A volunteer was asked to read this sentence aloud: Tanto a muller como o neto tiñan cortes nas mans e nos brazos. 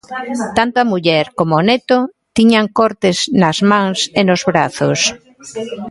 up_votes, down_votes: 2, 0